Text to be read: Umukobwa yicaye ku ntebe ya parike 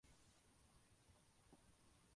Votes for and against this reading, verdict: 0, 2, rejected